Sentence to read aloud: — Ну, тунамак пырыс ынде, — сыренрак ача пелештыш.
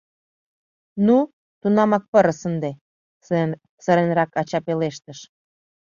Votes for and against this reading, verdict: 0, 2, rejected